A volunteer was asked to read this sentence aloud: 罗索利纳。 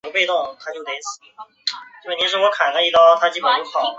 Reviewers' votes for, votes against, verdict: 0, 3, rejected